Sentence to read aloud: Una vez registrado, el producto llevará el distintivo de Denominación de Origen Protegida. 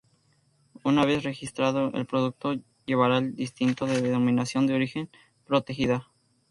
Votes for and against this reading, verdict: 0, 2, rejected